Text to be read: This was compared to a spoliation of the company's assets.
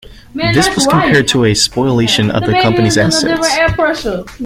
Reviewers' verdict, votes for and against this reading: accepted, 2, 0